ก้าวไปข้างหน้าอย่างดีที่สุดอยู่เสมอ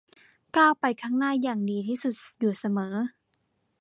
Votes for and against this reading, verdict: 2, 0, accepted